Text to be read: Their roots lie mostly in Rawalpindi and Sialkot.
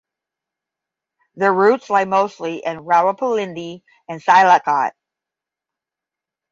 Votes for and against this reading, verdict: 5, 5, rejected